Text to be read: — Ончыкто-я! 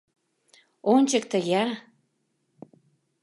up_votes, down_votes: 2, 0